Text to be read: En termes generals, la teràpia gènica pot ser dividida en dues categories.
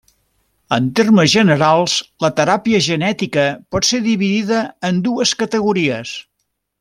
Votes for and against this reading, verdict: 0, 2, rejected